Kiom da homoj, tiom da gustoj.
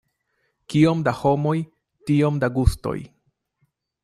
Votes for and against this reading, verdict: 2, 0, accepted